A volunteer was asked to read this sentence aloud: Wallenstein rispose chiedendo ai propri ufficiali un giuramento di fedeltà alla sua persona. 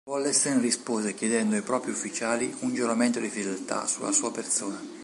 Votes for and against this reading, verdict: 1, 2, rejected